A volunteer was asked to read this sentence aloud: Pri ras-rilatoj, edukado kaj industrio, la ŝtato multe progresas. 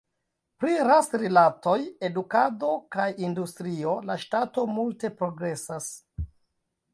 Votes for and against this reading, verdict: 0, 2, rejected